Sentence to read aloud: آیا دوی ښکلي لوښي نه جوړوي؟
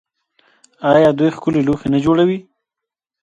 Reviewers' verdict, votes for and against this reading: accepted, 2, 1